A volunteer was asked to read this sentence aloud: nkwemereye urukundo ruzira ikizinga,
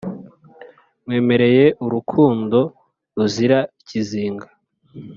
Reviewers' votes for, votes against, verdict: 2, 0, accepted